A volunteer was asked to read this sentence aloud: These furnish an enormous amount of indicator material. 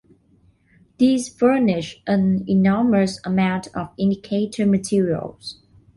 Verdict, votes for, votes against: accepted, 2, 0